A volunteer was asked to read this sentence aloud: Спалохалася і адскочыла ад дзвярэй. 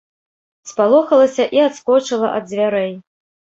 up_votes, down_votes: 2, 0